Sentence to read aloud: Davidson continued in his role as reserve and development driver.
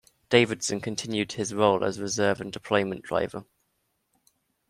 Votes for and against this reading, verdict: 0, 2, rejected